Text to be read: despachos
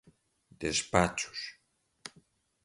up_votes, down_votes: 1, 2